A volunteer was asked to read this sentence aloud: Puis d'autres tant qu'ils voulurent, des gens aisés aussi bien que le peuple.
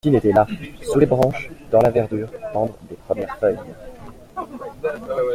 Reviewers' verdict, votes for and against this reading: rejected, 0, 2